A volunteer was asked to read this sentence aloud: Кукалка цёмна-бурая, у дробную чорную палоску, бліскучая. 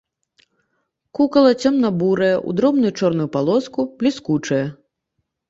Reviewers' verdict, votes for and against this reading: rejected, 0, 2